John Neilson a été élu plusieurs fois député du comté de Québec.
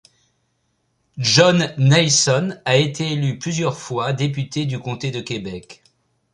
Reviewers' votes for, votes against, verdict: 2, 0, accepted